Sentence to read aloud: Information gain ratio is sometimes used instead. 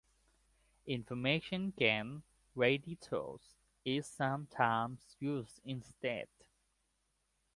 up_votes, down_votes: 1, 2